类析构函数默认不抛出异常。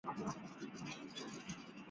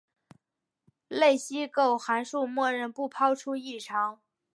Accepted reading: second